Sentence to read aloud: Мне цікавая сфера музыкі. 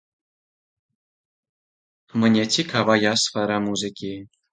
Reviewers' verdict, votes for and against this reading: rejected, 0, 2